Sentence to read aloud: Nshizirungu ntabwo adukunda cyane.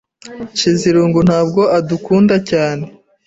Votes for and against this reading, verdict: 3, 0, accepted